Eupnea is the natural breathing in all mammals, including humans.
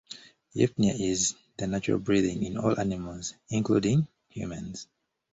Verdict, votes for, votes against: rejected, 1, 2